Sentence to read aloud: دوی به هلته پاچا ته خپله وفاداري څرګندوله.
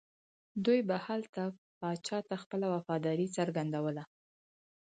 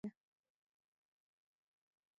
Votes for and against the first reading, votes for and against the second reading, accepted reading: 4, 0, 1, 2, first